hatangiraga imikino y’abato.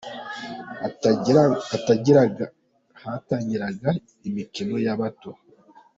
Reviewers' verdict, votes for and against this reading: rejected, 0, 2